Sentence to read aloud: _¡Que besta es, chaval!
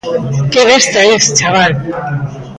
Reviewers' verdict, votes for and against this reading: accepted, 2, 0